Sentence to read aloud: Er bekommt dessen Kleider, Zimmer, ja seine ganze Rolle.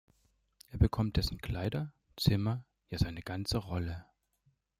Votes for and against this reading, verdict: 2, 0, accepted